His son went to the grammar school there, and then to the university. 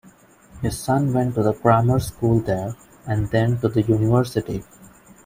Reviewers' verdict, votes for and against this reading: accepted, 2, 0